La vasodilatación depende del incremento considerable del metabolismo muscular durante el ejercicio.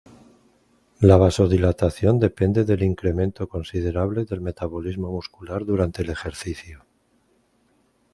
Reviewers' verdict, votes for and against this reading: accepted, 2, 1